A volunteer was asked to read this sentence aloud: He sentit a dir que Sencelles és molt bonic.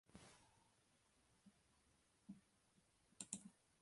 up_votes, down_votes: 0, 2